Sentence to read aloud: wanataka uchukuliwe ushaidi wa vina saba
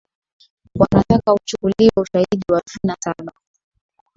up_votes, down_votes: 2, 0